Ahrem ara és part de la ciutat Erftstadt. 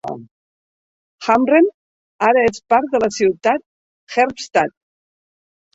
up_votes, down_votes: 1, 2